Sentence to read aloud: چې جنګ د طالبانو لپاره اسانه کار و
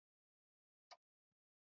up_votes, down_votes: 0, 2